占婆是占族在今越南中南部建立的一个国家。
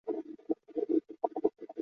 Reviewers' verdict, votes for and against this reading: rejected, 0, 3